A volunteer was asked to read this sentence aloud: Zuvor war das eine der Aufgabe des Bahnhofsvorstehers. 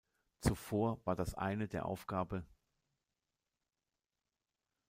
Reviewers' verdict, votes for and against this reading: rejected, 0, 2